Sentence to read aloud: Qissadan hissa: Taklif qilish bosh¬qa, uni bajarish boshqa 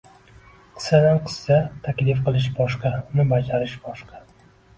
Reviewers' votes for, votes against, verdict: 2, 0, accepted